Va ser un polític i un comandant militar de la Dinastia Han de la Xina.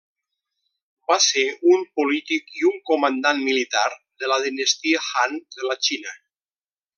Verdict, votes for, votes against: accepted, 2, 0